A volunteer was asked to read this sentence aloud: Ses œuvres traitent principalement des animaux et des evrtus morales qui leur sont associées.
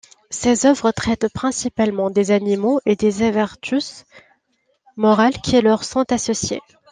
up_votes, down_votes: 0, 2